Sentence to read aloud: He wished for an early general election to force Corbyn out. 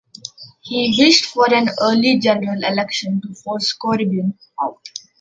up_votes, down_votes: 2, 1